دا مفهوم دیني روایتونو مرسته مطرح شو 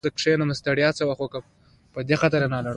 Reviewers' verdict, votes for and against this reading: rejected, 0, 2